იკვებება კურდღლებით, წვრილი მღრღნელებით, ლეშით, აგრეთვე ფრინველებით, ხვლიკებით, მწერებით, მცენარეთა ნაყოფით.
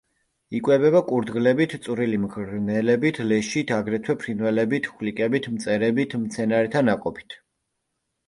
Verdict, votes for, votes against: accepted, 2, 0